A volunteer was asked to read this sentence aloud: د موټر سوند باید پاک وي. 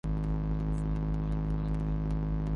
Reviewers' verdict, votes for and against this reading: rejected, 0, 2